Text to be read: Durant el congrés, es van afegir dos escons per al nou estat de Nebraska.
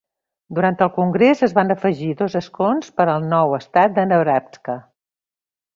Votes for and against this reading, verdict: 3, 0, accepted